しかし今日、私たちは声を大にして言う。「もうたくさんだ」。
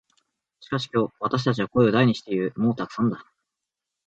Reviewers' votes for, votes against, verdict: 2, 0, accepted